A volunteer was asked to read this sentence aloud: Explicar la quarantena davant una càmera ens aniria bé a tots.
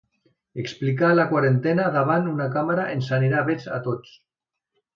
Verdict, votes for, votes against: accepted, 2, 1